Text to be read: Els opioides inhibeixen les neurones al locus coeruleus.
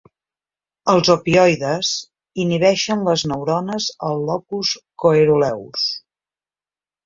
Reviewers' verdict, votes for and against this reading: accepted, 3, 0